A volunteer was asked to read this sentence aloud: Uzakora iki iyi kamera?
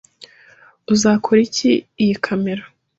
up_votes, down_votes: 2, 0